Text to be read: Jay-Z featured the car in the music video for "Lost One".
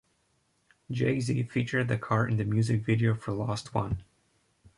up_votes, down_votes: 2, 0